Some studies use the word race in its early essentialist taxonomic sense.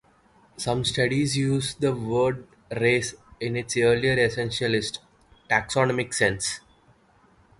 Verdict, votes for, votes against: accepted, 2, 0